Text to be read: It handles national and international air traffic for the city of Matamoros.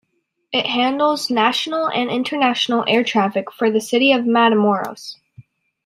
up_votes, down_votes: 2, 0